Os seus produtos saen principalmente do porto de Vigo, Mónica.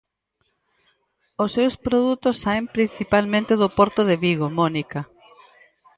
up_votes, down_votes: 4, 0